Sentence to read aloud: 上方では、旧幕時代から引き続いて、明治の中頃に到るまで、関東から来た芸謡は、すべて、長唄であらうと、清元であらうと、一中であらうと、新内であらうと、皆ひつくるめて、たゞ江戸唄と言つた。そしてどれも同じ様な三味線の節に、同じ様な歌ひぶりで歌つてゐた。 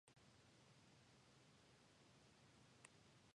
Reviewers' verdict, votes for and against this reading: rejected, 0, 2